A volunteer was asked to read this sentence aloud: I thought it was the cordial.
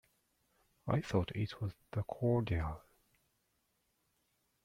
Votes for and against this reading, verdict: 0, 2, rejected